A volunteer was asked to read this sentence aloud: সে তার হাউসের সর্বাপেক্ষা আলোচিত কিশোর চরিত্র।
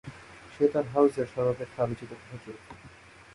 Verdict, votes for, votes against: rejected, 0, 2